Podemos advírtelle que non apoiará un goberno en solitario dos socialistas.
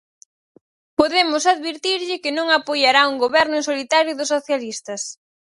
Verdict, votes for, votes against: rejected, 0, 4